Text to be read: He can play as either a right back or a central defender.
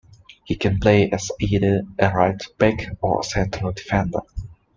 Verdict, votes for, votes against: accepted, 2, 0